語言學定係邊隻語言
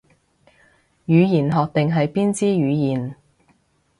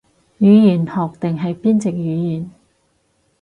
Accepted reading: second